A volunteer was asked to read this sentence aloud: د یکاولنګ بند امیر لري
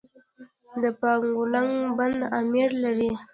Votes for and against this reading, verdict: 2, 1, accepted